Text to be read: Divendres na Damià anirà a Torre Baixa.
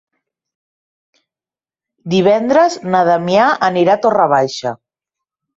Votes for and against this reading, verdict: 2, 0, accepted